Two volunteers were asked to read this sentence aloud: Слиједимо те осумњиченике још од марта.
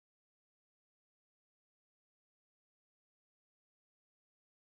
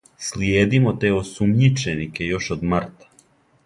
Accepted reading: second